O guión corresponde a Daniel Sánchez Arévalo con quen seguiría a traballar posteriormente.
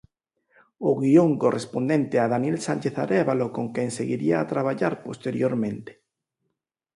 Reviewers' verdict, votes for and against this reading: rejected, 0, 4